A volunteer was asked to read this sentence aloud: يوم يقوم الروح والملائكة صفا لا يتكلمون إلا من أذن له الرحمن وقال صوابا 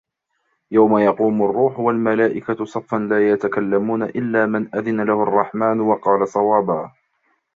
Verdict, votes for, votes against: rejected, 0, 2